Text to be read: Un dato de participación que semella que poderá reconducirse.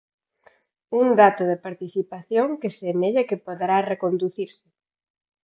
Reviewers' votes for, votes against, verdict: 4, 0, accepted